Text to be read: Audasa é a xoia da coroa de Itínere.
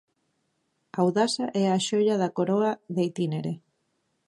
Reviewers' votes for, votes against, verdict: 2, 0, accepted